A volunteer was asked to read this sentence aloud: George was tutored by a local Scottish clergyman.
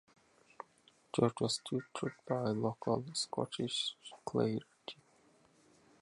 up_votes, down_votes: 0, 2